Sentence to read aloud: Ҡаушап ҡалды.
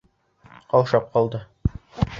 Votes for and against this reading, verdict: 2, 0, accepted